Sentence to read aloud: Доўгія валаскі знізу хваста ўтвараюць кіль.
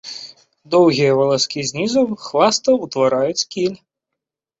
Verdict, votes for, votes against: rejected, 1, 2